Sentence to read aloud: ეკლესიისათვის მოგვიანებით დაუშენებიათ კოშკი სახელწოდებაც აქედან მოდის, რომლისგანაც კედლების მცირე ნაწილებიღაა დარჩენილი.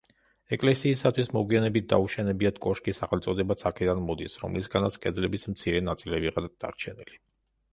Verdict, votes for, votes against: rejected, 1, 2